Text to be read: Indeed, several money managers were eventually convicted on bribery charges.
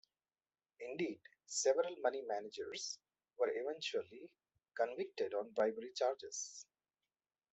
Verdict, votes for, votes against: accepted, 2, 0